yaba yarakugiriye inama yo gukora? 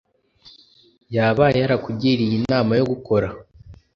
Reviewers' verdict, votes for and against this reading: accepted, 2, 0